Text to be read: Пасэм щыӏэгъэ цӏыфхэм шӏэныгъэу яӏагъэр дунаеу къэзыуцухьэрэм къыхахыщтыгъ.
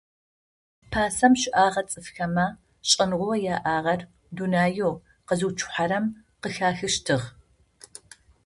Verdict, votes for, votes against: rejected, 0, 2